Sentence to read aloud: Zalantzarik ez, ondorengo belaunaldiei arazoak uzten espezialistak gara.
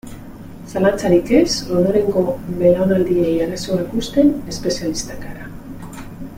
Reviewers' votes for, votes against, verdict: 3, 0, accepted